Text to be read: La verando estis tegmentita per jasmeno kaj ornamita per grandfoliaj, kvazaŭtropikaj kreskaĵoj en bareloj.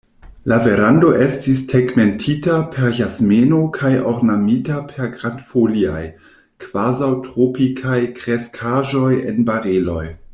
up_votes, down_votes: 2, 0